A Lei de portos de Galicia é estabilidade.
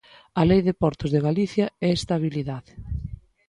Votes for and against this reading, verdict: 2, 0, accepted